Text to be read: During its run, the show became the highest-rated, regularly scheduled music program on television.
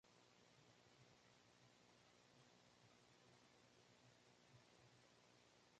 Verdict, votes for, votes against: rejected, 0, 3